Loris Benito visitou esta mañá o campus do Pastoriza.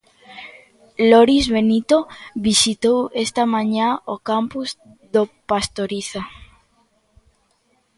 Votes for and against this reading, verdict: 2, 0, accepted